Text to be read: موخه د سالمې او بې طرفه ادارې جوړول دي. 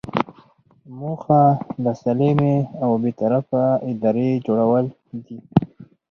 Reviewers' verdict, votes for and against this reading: rejected, 2, 4